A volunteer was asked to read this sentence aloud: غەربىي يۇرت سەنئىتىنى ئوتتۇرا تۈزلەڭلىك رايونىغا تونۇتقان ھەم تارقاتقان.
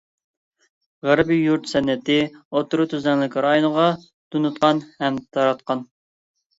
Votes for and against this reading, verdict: 0, 2, rejected